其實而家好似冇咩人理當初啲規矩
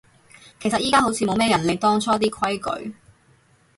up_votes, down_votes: 2, 4